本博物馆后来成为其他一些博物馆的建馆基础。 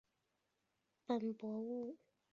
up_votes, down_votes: 2, 3